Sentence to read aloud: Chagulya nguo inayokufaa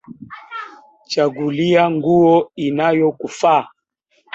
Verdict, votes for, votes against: rejected, 0, 2